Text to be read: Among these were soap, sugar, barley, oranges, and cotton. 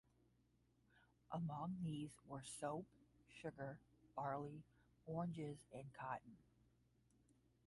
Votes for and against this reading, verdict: 10, 0, accepted